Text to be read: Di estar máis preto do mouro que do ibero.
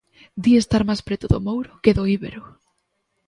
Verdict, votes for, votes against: rejected, 1, 2